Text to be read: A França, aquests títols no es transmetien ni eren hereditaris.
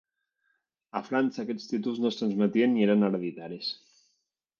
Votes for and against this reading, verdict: 0, 2, rejected